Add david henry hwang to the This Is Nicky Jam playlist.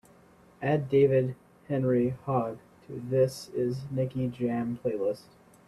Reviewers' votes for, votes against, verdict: 1, 2, rejected